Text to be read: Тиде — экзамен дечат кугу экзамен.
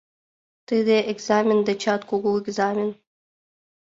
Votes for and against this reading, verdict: 2, 0, accepted